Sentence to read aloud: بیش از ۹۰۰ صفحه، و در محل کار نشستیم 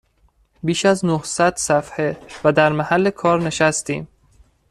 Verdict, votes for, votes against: rejected, 0, 2